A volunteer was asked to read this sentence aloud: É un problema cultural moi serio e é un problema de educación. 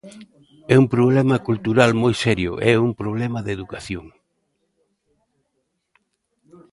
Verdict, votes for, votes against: accepted, 2, 0